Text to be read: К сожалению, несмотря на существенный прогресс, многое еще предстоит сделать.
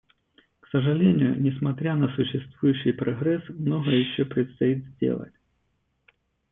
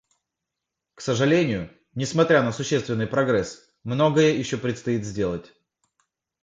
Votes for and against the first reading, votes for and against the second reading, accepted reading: 1, 2, 2, 0, second